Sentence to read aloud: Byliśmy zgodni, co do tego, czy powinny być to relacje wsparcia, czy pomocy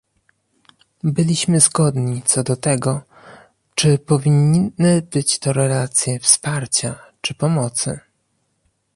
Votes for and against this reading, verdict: 0, 2, rejected